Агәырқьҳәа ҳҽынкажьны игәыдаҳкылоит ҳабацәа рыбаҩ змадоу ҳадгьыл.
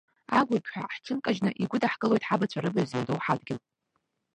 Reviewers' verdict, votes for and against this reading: rejected, 0, 2